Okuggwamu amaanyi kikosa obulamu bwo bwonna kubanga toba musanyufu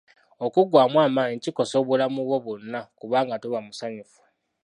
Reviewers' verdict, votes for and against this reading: accepted, 2, 0